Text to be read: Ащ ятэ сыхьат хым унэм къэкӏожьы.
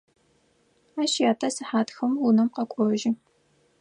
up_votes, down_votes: 4, 0